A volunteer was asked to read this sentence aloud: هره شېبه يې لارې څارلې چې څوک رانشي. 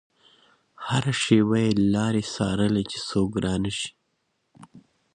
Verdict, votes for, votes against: accepted, 2, 1